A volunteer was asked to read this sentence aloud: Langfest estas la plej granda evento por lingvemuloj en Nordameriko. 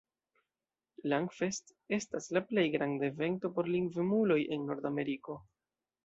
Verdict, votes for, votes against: accepted, 2, 1